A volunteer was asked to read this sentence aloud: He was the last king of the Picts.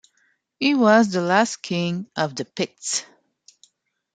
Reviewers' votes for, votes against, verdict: 2, 0, accepted